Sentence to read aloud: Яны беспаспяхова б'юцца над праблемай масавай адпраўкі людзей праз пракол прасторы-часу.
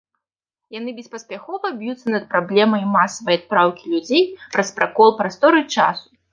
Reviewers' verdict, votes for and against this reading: accepted, 2, 0